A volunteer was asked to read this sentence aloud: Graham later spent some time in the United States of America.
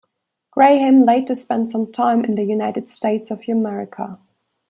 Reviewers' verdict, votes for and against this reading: rejected, 1, 2